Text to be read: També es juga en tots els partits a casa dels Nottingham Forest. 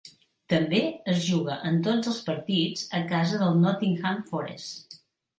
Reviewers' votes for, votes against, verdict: 2, 1, accepted